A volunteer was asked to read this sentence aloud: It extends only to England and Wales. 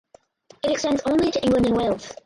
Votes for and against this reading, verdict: 2, 4, rejected